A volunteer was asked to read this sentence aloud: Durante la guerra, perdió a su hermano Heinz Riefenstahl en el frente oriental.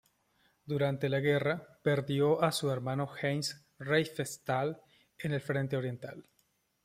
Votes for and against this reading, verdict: 2, 0, accepted